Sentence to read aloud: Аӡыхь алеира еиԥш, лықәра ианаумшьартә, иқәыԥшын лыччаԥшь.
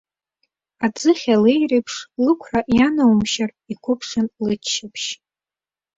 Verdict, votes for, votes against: accepted, 2, 0